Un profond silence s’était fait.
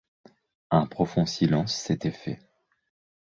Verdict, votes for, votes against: accepted, 2, 0